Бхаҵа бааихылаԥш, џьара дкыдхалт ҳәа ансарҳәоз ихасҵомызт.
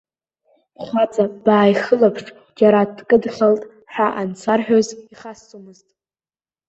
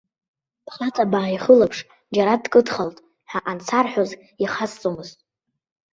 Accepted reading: second